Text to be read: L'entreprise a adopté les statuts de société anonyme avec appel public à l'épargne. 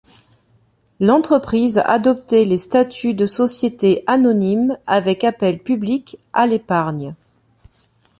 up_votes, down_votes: 2, 0